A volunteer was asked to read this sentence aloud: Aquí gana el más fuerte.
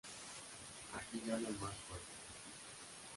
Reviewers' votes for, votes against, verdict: 0, 2, rejected